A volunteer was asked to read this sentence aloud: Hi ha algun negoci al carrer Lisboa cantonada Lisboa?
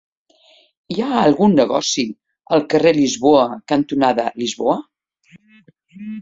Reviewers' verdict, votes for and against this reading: accepted, 3, 0